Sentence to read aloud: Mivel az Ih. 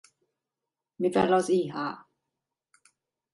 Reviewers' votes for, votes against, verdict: 0, 2, rejected